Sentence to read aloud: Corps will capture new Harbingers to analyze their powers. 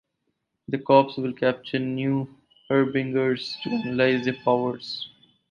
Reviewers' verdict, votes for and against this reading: rejected, 0, 4